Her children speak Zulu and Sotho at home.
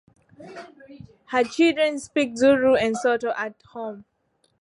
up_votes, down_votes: 2, 1